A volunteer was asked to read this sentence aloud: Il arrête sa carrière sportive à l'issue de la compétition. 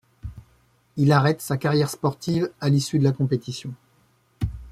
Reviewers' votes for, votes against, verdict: 2, 0, accepted